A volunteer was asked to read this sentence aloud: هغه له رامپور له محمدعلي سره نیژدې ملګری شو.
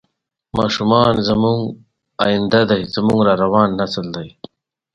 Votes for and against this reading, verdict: 0, 2, rejected